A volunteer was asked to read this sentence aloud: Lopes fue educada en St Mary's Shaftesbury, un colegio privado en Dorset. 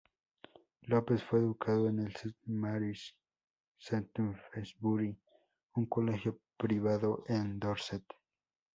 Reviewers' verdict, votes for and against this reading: accepted, 2, 0